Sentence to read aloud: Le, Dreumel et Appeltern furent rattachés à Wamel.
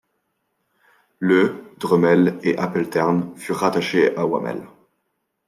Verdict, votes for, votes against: accepted, 2, 0